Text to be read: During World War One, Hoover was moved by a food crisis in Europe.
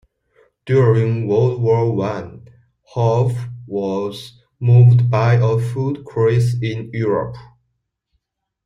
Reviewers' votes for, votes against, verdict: 0, 2, rejected